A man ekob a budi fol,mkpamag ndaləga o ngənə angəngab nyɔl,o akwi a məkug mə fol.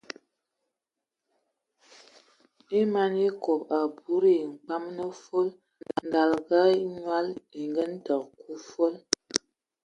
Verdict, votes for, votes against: rejected, 0, 2